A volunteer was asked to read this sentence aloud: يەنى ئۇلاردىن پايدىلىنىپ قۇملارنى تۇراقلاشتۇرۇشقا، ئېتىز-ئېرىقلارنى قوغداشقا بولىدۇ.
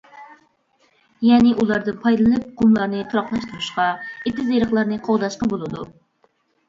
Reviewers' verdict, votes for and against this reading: accepted, 2, 0